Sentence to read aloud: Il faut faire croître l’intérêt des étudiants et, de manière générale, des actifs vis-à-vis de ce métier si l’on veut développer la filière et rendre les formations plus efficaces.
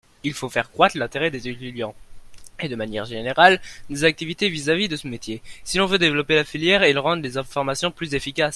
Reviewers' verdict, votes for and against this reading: rejected, 0, 2